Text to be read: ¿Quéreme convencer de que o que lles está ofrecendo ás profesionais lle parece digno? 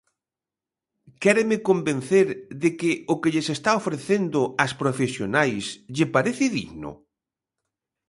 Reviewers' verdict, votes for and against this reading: accepted, 2, 0